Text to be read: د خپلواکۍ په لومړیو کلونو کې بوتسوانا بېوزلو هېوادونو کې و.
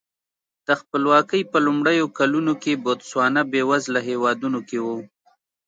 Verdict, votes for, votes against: accepted, 2, 0